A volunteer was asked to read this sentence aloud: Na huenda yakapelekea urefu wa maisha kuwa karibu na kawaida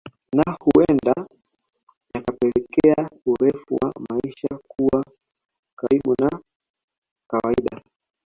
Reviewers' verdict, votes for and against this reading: rejected, 0, 2